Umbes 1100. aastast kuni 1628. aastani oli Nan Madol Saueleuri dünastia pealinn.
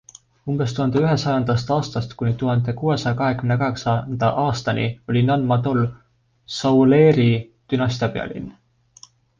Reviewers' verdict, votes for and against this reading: rejected, 0, 2